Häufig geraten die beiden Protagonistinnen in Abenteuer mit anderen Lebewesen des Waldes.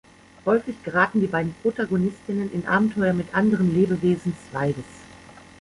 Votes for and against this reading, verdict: 1, 2, rejected